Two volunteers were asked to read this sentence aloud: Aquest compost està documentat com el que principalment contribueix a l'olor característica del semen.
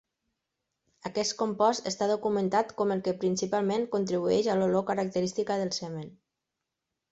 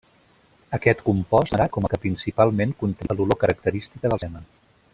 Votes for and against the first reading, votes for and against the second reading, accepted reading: 2, 0, 0, 2, first